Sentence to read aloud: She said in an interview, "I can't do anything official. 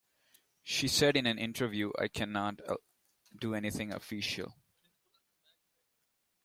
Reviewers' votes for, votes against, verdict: 0, 2, rejected